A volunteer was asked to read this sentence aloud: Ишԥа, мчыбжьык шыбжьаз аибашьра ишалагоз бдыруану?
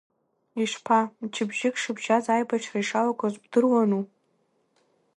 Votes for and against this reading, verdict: 1, 2, rejected